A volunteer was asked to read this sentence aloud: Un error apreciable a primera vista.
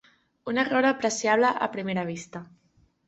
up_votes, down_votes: 3, 0